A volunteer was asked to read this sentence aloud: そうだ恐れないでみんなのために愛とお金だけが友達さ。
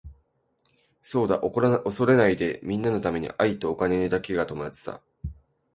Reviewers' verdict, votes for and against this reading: accepted, 2, 1